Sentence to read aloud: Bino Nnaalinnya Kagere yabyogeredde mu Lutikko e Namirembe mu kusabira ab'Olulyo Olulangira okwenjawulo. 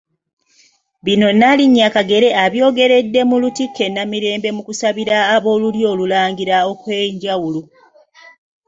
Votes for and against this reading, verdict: 0, 2, rejected